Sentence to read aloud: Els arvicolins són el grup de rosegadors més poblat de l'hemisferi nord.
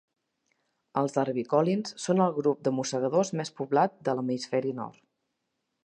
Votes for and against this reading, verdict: 0, 2, rejected